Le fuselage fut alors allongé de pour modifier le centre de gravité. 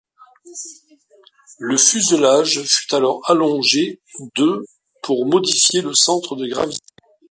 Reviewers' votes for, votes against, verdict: 0, 2, rejected